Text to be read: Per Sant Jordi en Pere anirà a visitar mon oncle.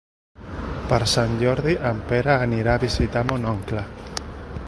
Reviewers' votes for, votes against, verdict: 1, 2, rejected